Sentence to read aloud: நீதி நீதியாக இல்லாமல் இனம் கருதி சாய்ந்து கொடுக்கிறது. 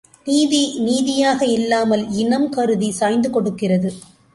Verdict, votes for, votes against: accepted, 3, 0